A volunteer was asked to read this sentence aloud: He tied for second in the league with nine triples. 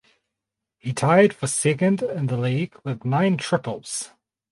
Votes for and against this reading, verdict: 4, 2, accepted